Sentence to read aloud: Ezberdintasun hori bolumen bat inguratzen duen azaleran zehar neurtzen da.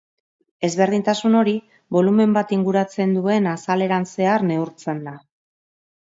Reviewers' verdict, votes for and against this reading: accepted, 5, 0